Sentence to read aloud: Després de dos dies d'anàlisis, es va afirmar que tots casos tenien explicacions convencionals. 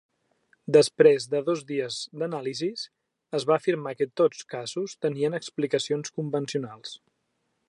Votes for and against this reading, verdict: 3, 0, accepted